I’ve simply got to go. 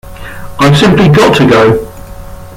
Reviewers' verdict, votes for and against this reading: accepted, 2, 1